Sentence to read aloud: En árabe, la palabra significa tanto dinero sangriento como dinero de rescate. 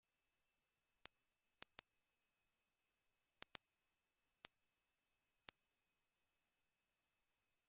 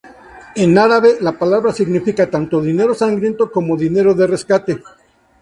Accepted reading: second